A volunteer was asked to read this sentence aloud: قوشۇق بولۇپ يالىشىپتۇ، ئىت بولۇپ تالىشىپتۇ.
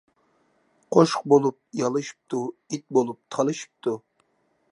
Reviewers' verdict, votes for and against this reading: accepted, 2, 0